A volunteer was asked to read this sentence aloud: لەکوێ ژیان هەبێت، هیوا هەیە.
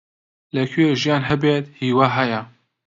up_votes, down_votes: 2, 0